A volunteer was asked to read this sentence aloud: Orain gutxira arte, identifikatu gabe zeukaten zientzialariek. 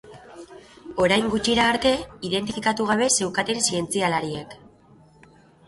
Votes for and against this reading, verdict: 3, 0, accepted